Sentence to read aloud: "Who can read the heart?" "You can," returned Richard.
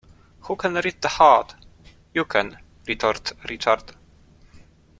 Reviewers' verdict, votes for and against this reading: rejected, 0, 2